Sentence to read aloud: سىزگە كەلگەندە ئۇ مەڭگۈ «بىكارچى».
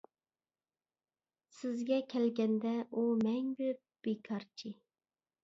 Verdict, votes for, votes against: accepted, 2, 0